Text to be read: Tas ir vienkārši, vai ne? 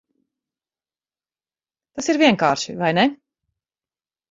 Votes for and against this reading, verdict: 4, 2, accepted